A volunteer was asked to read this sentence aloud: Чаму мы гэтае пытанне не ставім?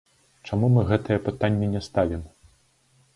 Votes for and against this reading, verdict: 1, 2, rejected